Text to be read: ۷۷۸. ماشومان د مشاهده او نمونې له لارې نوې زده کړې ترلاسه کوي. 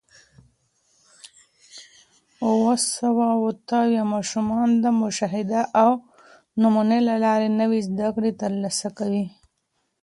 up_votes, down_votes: 0, 2